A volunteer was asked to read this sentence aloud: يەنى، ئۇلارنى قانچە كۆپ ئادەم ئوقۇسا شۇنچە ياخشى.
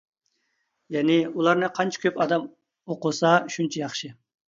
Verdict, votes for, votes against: accepted, 2, 0